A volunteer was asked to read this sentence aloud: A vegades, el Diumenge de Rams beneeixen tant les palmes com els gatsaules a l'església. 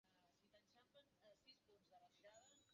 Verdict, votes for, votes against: rejected, 0, 2